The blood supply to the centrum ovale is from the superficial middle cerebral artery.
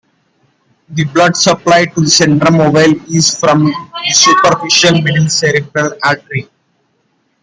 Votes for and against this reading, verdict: 2, 1, accepted